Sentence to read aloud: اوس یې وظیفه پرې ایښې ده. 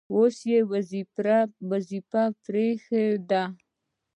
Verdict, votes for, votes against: accepted, 2, 0